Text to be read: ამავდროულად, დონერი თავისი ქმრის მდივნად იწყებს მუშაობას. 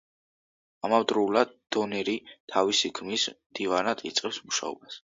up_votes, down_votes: 0, 2